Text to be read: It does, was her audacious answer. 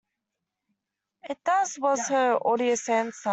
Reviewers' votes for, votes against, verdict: 0, 2, rejected